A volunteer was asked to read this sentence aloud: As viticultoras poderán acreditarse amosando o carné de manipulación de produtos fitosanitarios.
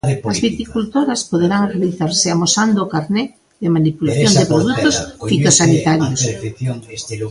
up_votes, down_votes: 1, 2